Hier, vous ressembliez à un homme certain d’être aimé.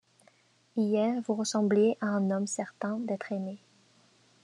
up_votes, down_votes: 1, 2